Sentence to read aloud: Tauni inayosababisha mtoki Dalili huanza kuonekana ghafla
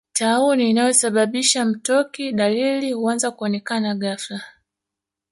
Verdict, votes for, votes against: accepted, 2, 0